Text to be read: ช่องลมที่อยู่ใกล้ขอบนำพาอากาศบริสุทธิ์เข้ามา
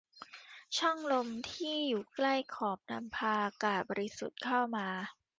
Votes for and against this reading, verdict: 2, 0, accepted